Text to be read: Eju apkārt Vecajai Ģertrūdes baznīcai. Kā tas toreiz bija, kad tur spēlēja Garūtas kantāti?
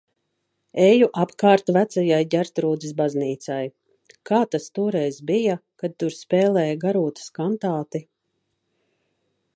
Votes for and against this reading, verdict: 3, 0, accepted